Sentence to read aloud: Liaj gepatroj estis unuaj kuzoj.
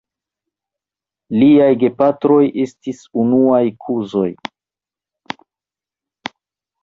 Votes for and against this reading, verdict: 1, 2, rejected